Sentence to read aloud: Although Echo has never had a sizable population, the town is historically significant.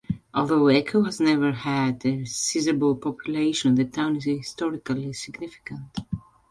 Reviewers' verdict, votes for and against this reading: rejected, 0, 2